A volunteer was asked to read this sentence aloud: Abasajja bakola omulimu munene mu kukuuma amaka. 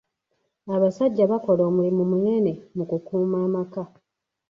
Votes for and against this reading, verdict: 3, 1, accepted